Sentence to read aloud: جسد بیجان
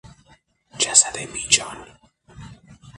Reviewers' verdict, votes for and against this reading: accepted, 6, 0